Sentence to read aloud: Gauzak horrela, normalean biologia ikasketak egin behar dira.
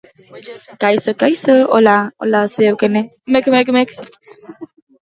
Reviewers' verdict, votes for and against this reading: rejected, 0, 2